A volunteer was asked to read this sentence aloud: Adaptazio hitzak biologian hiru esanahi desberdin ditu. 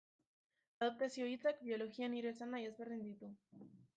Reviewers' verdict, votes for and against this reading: rejected, 0, 2